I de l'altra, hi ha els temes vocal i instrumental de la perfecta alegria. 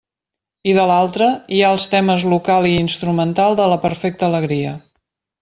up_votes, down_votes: 0, 2